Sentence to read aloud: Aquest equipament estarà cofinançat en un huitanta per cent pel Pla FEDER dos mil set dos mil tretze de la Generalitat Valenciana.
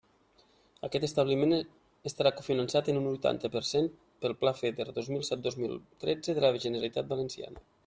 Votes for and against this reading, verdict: 1, 2, rejected